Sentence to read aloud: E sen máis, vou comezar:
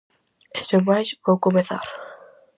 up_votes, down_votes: 4, 0